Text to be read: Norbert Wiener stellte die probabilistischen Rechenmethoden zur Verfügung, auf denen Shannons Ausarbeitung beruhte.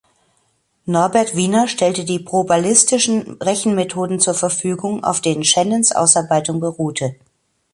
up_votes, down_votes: 1, 2